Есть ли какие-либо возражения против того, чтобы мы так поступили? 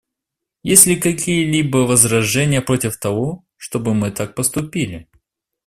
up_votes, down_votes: 2, 0